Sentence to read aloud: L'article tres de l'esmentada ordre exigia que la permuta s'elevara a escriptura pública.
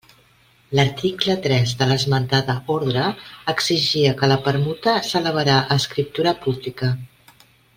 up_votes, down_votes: 1, 2